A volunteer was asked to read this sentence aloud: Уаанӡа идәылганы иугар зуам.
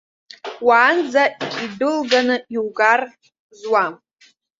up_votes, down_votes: 1, 2